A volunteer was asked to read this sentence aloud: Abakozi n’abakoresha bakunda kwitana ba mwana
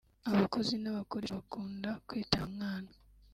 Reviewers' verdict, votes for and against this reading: rejected, 1, 2